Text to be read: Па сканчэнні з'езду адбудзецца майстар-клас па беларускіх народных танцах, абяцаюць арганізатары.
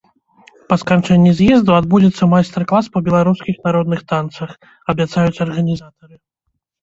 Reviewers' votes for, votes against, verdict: 0, 2, rejected